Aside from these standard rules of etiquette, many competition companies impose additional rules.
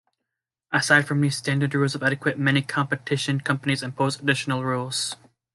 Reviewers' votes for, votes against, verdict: 2, 0, accepted